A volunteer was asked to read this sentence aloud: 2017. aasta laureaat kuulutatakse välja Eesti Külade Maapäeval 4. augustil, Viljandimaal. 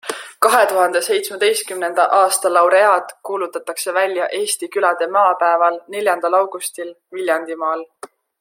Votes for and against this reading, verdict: 0, 2, rejected